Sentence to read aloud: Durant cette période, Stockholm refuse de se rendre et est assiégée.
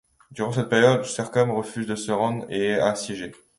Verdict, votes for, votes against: rejected, 1, 2